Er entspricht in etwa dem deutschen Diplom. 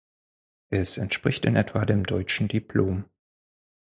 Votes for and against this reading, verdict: 2, 4, rejected